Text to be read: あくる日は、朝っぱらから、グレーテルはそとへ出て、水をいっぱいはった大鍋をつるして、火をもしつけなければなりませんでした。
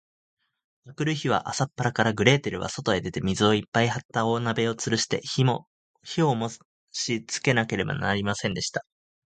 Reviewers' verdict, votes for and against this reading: rejected, 1, 2